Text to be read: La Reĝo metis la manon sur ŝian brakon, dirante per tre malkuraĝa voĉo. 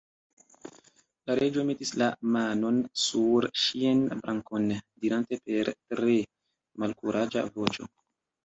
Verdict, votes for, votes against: accepted, 2, 0